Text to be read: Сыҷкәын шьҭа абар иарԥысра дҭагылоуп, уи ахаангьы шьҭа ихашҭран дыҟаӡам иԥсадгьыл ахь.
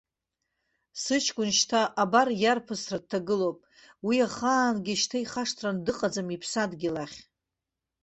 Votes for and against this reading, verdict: 2, 0, accepted